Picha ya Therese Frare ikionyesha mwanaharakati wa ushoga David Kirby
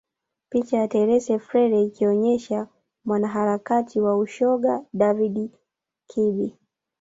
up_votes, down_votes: 1, 2